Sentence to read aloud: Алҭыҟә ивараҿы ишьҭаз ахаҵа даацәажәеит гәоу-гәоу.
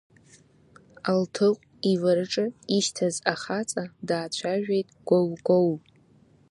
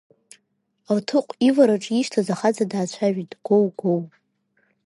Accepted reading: second